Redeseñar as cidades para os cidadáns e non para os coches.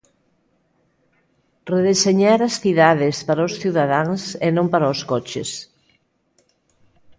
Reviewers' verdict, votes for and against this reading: accepted, 2, 1